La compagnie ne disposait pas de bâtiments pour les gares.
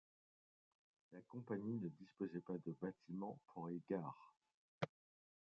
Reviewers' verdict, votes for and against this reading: rejected, 1, 2